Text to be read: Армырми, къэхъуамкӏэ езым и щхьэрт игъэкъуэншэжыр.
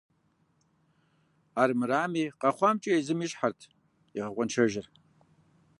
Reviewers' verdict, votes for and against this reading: rejected, 0, 2